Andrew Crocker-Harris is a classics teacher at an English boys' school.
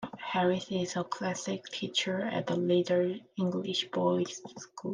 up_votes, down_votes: 1, 2